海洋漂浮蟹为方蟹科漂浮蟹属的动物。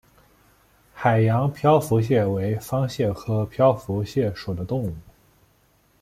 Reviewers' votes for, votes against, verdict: 2, 0, accepted